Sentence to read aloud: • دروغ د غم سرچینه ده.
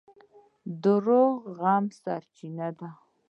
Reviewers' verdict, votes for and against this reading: rejected, 1, 2